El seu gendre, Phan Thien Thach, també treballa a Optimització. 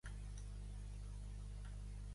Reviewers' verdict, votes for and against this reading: rejected, 0, 2